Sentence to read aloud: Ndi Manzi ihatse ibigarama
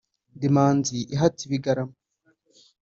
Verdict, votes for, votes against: accepted, 2, 0